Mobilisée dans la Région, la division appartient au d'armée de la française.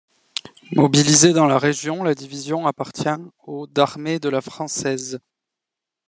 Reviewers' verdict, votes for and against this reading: accepted, 2, 1